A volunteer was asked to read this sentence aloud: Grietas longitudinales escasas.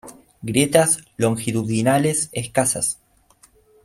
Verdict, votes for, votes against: accepted, 2, 0